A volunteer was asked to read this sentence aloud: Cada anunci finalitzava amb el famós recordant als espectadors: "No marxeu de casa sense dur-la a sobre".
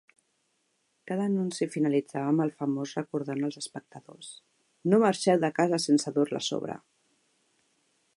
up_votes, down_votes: 2, 0